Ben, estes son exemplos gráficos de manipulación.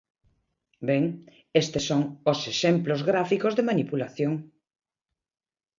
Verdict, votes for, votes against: rejected, 0, 2